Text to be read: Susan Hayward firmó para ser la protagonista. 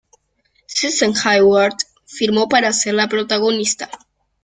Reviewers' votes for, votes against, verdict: 2, 0, accepted